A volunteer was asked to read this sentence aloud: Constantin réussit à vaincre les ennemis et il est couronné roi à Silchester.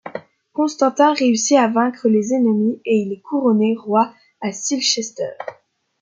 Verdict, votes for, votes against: accepted, 2, 0